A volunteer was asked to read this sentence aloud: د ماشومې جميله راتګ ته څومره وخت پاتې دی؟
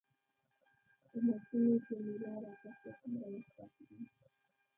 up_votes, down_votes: 0, 2